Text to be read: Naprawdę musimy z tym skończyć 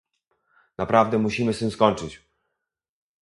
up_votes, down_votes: 2, 0